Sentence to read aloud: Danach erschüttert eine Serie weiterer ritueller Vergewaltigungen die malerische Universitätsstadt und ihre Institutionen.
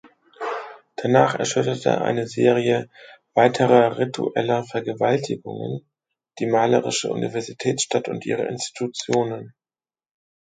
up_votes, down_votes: 0, 2